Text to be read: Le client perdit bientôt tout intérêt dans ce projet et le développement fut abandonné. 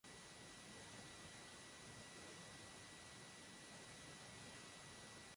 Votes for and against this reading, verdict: 0, 2, rejected